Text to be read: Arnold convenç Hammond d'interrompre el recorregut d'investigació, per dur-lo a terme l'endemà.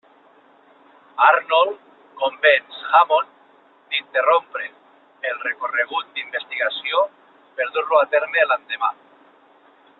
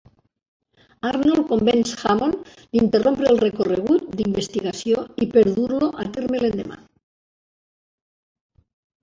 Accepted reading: first